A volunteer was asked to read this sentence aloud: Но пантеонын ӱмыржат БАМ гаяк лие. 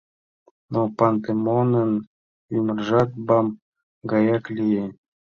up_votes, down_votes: 1, 2